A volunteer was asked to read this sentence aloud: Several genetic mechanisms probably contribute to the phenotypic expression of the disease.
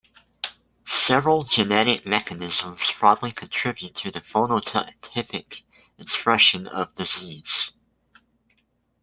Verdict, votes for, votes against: rejected, 0, 2